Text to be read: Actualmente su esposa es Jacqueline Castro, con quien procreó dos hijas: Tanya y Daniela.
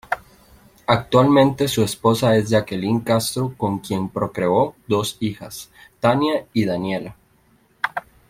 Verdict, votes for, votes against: accepted, 2, 0